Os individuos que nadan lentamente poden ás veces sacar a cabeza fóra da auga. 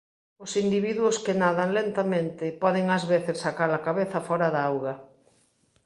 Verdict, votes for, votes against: accepted, 2, 0